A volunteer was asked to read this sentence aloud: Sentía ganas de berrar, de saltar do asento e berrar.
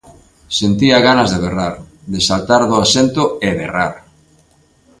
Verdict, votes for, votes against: accepted, 2, 0